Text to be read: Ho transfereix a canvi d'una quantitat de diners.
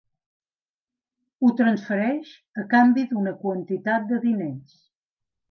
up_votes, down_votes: 3, 0